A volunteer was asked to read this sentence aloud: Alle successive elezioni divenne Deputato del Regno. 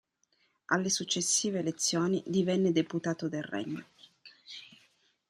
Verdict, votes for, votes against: accepted, 2, 0